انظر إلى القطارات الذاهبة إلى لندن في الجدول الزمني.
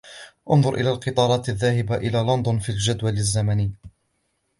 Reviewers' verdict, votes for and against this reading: accepted, 2, 0